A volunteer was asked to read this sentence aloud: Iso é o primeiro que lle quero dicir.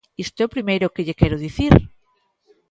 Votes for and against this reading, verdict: 0, 2, rejected